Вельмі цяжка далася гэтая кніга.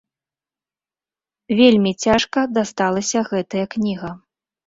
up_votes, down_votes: 0, 2